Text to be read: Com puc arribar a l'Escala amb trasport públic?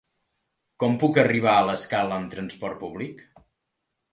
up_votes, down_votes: 3, 1